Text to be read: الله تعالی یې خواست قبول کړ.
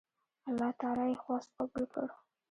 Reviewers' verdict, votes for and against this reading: rejected, 1, 2